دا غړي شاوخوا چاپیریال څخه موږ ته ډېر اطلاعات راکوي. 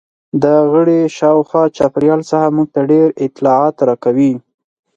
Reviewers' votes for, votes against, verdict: 4, 0, accepted